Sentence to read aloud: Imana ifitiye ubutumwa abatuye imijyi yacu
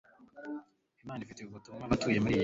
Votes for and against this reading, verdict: 2, 0, accepted